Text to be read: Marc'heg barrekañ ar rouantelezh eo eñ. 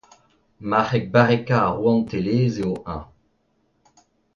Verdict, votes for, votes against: accepted, 2, 0